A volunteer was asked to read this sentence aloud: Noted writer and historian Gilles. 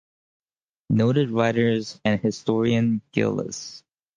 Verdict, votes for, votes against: rejected, 0, 4